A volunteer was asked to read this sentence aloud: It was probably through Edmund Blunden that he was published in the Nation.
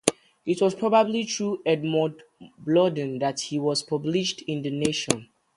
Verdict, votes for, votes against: rejected, 0, 2